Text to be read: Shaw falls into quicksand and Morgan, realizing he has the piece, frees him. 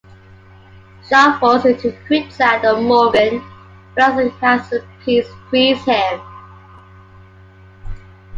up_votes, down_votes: 3, 1